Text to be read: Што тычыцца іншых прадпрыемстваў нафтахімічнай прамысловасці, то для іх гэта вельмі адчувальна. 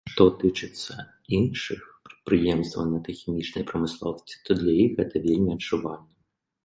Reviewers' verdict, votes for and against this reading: accepted, 2, 0